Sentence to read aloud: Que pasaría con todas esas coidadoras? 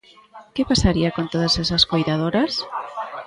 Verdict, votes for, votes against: rejected, 1, 2